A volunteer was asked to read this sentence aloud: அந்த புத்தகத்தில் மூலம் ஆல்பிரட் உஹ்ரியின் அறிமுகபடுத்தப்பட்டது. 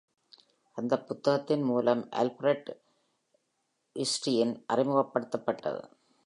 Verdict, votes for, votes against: rejected, 0, 2